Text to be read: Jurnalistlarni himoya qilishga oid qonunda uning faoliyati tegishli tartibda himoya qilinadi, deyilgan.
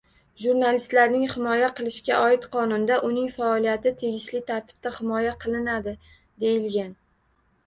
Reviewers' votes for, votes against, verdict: 2, 1, accepted